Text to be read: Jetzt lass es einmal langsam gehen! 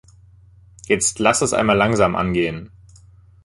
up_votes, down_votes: 0, 2